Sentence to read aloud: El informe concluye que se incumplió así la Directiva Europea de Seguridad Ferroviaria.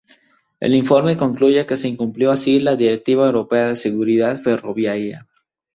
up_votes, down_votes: 2, 0